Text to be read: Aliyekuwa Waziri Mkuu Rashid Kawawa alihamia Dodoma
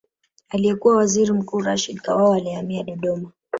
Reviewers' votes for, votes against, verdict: 0, 2, rejected